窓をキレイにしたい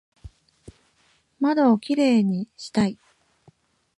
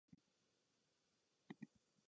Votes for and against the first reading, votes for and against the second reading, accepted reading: 2, 0, 1, 2, first